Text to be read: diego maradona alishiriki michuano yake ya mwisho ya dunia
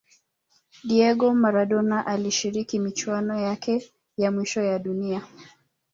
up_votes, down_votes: 2, 1